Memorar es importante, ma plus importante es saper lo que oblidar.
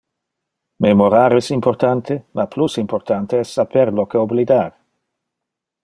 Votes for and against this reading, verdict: 2, 0, accepted